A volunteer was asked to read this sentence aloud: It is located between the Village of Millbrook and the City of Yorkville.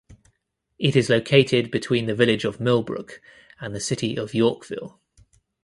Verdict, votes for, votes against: accepted, 2, 0